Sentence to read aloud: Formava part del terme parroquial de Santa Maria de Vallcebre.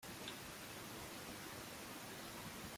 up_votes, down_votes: 0, 4